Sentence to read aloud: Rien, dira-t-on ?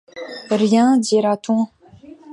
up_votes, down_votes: 2, 0